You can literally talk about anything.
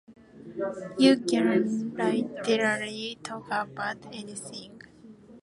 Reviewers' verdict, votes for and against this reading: rejected, 0, 2